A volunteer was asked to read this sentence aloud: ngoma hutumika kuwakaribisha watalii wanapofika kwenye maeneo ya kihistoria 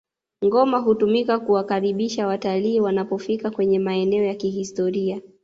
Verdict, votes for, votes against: accepted, 2, 0